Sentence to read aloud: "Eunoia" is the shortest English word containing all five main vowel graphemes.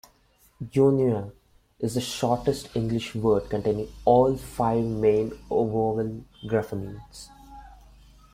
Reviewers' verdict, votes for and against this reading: accepted, 2, 0